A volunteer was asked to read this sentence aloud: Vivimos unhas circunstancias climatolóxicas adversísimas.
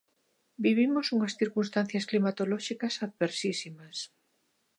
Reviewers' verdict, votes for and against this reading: accepted, 3, 0